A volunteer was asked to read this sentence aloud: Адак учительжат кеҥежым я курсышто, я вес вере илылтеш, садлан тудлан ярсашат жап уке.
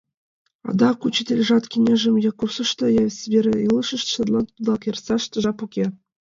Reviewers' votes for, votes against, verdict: 1, 2, rejected